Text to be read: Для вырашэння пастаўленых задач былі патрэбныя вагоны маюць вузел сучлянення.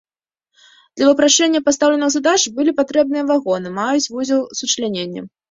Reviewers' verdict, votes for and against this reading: rejected, 1, 2